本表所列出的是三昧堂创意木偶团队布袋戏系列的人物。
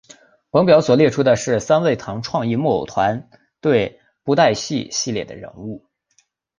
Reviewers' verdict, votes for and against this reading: accepted, 4, 1